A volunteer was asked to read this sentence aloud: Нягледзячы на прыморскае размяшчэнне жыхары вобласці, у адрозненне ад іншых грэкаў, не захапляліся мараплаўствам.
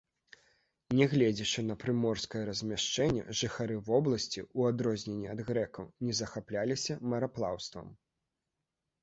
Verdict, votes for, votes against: rejected, 1, 2